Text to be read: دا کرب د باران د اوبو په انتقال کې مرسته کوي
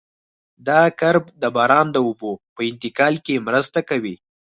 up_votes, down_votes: 4, 0